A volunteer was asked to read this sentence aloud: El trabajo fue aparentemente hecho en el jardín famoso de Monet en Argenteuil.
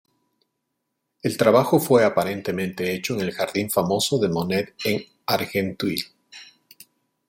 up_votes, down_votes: 2, 1